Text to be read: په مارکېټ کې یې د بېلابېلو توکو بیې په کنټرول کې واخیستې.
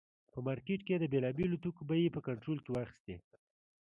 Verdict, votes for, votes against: accepted, 2, 0